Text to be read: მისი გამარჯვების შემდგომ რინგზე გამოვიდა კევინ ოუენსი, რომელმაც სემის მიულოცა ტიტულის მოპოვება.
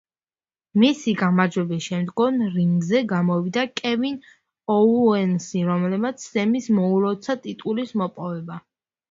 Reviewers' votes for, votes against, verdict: 2, 0, accepted